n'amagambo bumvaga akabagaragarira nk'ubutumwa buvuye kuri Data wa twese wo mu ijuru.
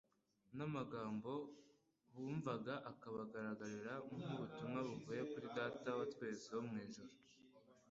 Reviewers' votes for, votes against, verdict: 2, 0, accepted